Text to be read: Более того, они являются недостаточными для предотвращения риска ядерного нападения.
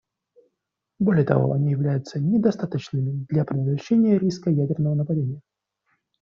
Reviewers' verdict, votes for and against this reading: rejected, 1, 2